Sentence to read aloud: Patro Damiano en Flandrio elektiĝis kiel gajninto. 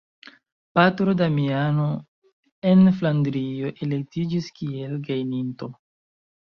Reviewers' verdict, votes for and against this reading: rejected, 1, 3